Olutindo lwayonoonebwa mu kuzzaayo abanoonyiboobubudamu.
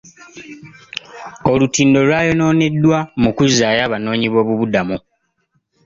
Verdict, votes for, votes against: rejected, 1, 2